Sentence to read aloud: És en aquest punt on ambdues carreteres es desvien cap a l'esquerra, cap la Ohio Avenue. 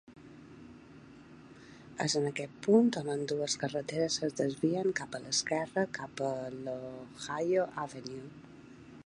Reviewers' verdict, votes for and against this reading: accepted, 2, 0